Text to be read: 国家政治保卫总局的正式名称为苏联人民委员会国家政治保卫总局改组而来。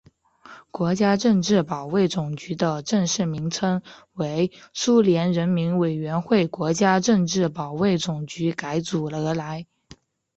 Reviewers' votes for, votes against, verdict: 5, 1, accepted